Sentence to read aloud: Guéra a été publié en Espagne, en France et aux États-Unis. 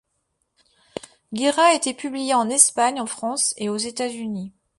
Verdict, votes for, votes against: accepted, 2, 1